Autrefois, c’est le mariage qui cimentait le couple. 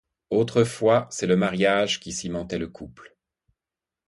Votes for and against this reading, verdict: 2, 0, accepted